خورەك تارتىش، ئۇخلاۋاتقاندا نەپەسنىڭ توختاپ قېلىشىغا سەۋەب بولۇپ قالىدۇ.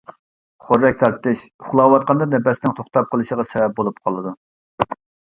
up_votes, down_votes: 2, 0